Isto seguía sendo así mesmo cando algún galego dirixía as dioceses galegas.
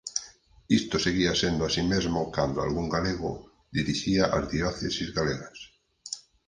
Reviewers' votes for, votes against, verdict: 4, 0, accepted